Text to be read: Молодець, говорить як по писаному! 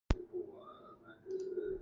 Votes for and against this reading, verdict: 0, 2, rejected